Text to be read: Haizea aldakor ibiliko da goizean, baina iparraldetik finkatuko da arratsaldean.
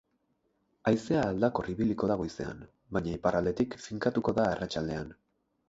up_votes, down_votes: 4, 0